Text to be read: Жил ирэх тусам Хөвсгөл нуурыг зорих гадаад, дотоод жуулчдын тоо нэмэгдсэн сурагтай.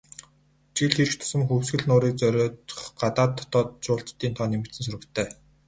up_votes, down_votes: 2, 4